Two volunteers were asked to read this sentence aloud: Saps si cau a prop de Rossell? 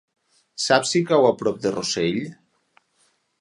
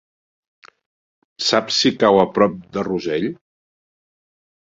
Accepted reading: first